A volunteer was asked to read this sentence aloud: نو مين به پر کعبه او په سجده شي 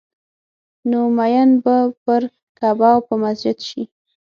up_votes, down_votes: 3, 6